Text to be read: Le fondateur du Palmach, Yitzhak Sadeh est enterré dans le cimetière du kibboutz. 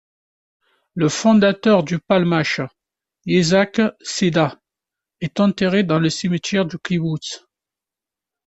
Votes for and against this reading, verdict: 1, 2, rejected